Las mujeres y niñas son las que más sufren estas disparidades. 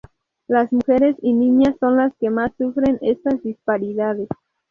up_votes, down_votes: 2, 2